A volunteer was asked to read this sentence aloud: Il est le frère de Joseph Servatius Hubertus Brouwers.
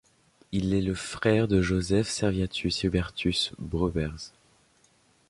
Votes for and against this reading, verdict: 2, 0, accepted